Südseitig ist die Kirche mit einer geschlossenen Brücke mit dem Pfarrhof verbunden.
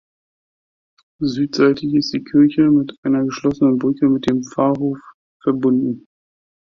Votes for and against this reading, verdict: 2, 0, accepted